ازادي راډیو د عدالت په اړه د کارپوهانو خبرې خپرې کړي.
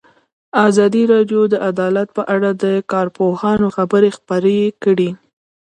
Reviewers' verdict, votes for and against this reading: rejected, 1, 2